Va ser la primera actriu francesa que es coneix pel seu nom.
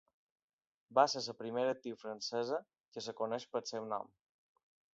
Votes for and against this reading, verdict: 2, 1, accepted